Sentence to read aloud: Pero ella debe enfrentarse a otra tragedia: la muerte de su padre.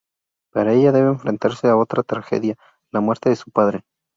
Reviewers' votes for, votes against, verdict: 0, 2, rejected